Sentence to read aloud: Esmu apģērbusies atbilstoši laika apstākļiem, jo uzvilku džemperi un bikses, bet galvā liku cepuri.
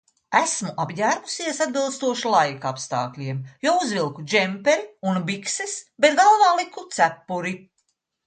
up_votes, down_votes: 2, 0